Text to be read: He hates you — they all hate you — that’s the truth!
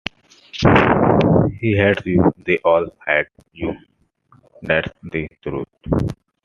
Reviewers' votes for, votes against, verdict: 0, 2, rejected